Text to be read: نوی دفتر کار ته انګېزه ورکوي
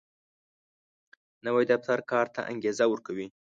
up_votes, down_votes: 2, 0